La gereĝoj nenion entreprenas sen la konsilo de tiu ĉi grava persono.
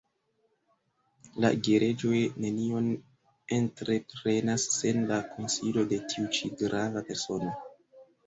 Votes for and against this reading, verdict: 1, 2, rejected